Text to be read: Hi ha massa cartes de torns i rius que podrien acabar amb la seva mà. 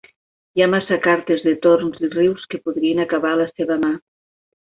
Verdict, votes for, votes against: rejected, 0, 2